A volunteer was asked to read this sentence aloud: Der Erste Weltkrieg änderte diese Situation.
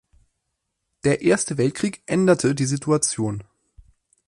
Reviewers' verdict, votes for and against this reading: rejected, 2, 4